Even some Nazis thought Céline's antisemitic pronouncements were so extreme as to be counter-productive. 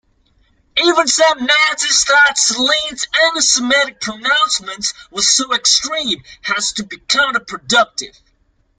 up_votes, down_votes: 0, 2